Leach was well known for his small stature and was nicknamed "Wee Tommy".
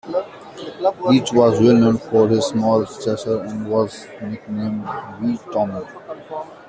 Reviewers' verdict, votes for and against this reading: rejected, 0, 2